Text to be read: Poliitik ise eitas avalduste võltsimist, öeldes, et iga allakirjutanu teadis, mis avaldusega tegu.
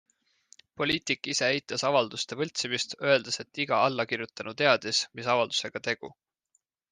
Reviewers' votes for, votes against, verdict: 2, 0, accepted